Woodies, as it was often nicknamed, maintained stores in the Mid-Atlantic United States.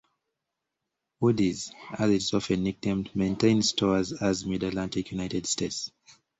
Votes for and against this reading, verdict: 1, 2, rejected